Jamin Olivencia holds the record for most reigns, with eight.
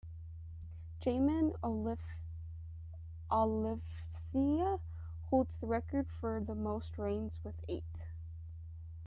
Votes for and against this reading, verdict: 1, 2, rejected